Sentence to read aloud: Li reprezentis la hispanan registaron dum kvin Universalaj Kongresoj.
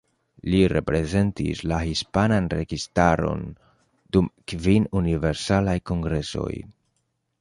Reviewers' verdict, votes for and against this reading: accepted, 2, 0